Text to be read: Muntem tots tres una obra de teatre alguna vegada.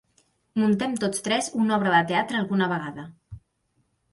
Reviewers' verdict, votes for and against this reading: accepted, 2, 0